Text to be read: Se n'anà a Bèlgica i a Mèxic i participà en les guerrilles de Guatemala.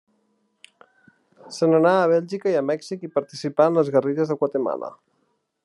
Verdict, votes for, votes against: accepted, 2, 0